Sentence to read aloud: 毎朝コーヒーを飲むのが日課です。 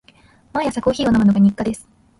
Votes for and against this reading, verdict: 2, 0, accepted